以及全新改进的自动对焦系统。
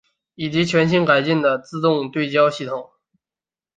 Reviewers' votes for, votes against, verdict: 4, 0, accepted